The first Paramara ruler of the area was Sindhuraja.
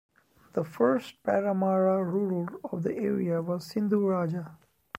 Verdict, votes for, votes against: rejected, 0, 2